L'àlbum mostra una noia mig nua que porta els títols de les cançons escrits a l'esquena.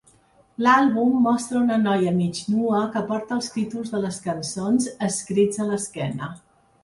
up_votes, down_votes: 3, 0